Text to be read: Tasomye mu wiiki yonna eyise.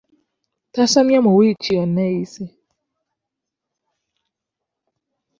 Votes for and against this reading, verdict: 2, 1, accepted